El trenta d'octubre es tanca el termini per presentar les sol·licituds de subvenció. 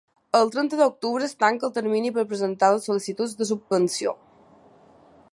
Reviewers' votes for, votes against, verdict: 2, 0, accepted